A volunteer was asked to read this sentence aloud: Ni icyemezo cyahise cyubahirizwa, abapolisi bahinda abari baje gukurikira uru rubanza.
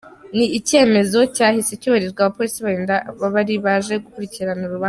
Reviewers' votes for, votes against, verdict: 1, 3, rejected